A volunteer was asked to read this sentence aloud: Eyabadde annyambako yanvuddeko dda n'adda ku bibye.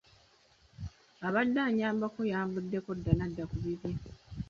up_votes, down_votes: 1, 2